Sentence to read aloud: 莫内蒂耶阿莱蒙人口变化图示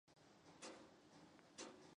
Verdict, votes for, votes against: rejected, 5, 6